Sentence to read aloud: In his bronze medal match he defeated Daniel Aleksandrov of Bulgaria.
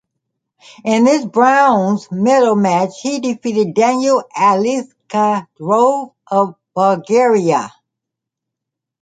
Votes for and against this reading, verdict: 0, 2, rejected